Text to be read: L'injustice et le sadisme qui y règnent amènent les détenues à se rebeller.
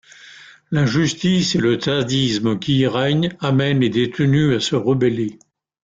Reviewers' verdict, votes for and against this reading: accepted, 2, 0